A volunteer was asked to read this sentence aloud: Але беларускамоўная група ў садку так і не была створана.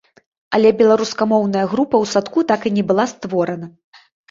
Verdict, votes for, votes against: accepted, 2, 0